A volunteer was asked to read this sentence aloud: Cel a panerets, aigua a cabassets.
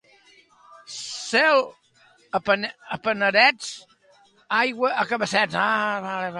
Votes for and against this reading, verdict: 0, 2, rejected